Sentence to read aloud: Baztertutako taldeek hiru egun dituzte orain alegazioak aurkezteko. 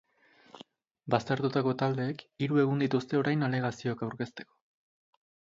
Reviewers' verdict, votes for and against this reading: accepted, 2, 1